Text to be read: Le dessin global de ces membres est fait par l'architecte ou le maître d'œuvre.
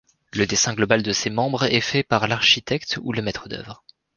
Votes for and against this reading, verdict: 2, 0, accepted